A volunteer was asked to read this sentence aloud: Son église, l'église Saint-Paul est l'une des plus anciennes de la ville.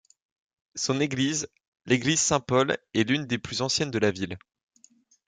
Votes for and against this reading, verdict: 2, 0, accepted